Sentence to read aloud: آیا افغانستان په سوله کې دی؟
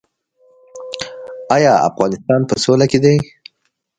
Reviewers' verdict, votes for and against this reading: rejected, 1, 2